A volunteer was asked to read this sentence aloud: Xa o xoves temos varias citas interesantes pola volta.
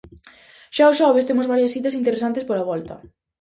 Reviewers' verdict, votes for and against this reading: accepted, 2, 0